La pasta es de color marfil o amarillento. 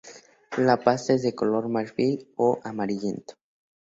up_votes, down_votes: 4, 0